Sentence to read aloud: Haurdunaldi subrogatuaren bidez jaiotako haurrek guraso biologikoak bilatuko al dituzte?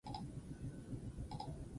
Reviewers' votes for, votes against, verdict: 0, 4, rejected